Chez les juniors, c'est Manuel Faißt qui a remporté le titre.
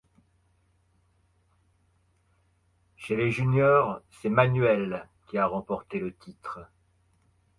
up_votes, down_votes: 0, 2